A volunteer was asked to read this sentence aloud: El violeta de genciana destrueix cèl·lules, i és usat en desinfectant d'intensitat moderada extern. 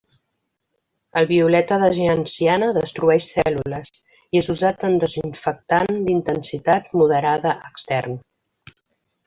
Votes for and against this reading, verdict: 1, 2, rejected